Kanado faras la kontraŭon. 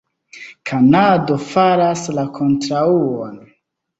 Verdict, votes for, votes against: accepted, 2, 1